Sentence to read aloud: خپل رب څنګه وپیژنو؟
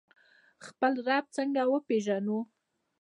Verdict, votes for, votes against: accepted, 2, 0